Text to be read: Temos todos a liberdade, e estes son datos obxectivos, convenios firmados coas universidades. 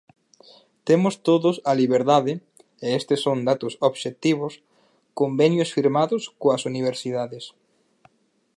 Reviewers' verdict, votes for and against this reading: accepted, 4, 0